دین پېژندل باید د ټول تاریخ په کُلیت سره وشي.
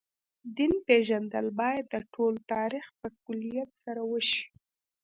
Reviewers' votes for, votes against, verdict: 1, 2, rejected